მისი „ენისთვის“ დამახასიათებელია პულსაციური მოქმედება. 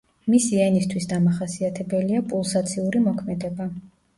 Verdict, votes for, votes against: rejected, 1, 2